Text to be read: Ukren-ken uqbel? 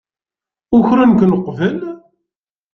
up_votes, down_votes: 2, 0